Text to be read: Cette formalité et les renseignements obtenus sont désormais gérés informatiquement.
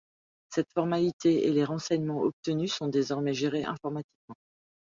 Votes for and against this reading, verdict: 2, 0, accepted